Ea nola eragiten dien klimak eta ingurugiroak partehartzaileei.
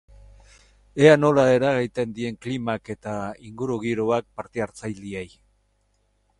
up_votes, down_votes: 2, 4